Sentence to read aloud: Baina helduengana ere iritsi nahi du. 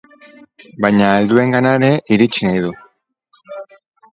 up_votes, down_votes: 0, 4